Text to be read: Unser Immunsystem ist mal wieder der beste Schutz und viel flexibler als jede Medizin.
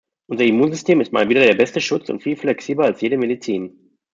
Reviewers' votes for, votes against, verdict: 2, 0, accepted